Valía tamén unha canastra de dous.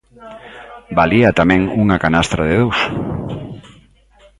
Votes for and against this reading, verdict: 1, 2, rejected